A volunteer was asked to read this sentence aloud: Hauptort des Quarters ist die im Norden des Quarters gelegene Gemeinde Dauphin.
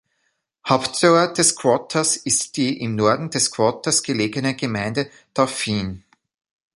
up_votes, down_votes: 0, 2